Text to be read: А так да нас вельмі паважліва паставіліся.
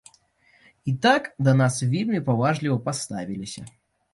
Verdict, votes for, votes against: rejected, 1, 2